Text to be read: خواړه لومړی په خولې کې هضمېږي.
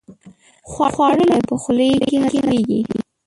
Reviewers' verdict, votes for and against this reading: rejected, 0, 2